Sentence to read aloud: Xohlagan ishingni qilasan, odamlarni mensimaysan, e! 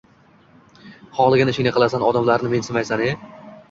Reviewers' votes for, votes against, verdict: 2, 0, accepted